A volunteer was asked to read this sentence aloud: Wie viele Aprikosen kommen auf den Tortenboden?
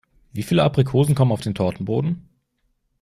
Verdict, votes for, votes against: accepted, 2, 0